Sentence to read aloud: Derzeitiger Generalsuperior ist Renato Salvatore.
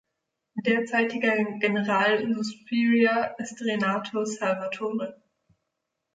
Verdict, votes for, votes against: rejected, 1, 3